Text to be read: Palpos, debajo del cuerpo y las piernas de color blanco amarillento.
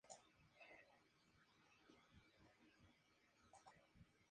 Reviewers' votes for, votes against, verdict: 2, 0, accepted